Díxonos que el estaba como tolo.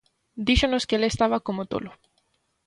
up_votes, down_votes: 2, 0